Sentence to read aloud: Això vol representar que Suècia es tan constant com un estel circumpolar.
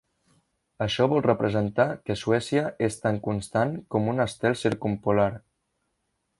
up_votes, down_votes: 3, 0